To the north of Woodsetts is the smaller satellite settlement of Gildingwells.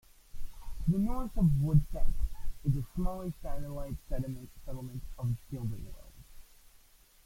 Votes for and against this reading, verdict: 0, 2, rejected